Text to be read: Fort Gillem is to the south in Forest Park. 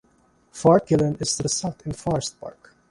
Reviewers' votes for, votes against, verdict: 0, 2, rejected